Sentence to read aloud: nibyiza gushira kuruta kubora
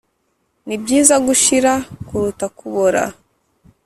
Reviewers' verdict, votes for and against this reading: accepted, 2, 0